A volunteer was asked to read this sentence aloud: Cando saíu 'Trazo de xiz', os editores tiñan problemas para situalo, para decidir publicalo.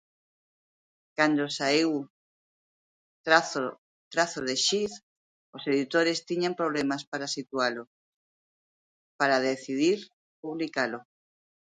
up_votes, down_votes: 0, 2